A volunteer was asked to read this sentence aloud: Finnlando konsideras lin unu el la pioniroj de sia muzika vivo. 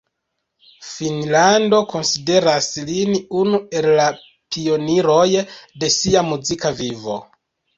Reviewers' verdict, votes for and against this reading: accepted, 2, 1